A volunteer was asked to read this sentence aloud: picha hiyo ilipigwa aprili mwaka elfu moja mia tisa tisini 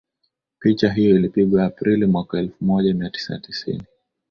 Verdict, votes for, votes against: accepted, 5, 1